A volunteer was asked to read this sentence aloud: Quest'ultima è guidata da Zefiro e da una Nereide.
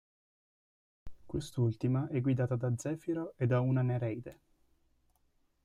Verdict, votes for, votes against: rejected, 1, 2